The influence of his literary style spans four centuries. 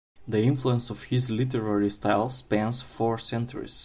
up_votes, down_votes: 2, 0